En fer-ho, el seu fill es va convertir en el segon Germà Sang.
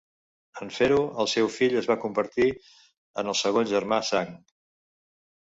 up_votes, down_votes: 2, 0